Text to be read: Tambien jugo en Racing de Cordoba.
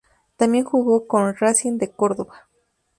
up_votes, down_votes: 0, 2